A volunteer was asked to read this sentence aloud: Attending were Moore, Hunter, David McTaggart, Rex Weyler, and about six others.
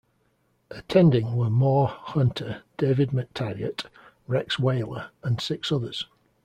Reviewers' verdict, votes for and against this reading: rejected, 0, 2